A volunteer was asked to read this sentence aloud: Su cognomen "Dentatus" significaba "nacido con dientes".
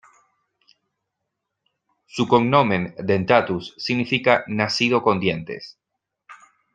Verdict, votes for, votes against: rejected, 0, 2